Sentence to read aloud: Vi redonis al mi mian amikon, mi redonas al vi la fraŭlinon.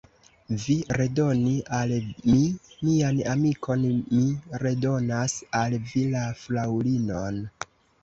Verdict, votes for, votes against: rejected, 0, 2